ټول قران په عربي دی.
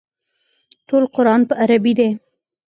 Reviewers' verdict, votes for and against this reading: accepted, 2, 0